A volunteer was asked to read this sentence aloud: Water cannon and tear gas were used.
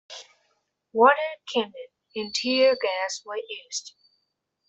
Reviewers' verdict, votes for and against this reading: accepted, 2, 1